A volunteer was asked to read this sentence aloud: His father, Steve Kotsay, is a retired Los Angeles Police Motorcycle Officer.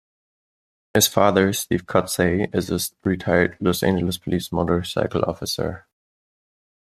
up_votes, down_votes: 1, 2